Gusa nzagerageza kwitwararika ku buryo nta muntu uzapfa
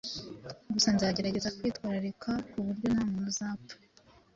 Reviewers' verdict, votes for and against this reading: accepted, 2, 0